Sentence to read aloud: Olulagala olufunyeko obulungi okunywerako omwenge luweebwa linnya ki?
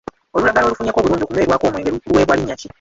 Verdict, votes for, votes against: rejected, 0, 2